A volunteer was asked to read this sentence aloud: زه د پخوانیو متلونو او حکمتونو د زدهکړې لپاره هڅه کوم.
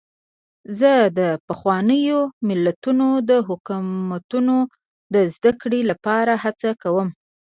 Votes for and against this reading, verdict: 2, 0, accepted